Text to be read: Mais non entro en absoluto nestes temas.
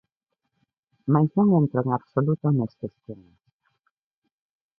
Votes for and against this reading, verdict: 0, 2, rejected